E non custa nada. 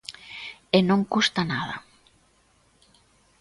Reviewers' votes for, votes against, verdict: 2, 0, accepted